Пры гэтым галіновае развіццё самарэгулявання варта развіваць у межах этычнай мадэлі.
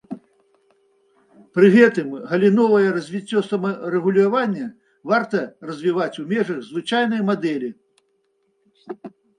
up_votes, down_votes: 0, 2